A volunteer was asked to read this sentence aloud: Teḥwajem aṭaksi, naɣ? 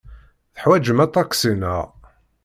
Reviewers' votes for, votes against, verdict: 2, 0, accepted